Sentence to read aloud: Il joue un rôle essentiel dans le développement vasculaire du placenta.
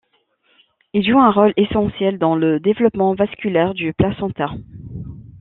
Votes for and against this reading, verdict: 2, 0, accepted